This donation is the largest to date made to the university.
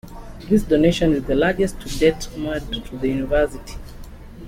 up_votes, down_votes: 1, 2